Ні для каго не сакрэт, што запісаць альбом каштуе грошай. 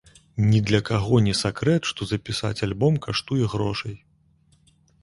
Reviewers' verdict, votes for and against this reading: accepted, 2, 0